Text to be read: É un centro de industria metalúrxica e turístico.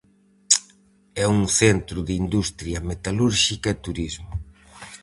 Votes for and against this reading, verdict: 2, 2, rejected